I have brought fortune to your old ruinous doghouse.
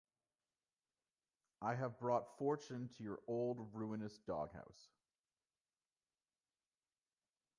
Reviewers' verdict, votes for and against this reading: accepted, 2, 1